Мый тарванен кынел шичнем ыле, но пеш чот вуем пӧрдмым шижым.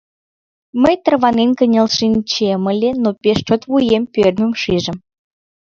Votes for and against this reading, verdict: 0, 2, rejected